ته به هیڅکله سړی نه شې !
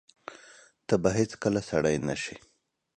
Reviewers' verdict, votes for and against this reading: accepted, 3, 0